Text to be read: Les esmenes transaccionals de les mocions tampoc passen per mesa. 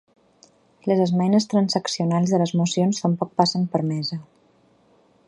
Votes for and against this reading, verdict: 3, 0, accepted